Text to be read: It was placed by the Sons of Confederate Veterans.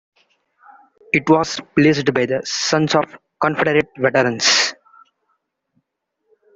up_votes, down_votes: 0, 2